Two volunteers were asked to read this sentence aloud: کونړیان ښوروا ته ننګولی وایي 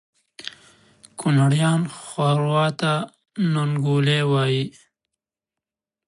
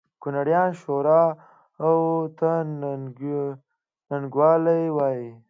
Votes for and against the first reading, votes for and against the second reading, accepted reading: 2, 0, 2, 3, first